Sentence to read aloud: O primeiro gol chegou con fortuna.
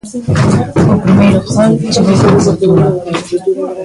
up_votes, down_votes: 0, 2